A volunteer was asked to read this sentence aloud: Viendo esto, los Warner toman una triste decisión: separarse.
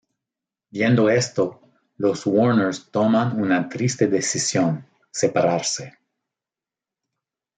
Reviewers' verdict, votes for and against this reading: accepted, 2, 0